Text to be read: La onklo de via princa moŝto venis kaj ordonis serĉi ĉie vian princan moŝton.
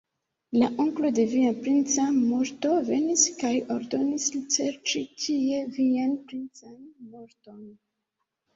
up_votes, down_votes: 1, 2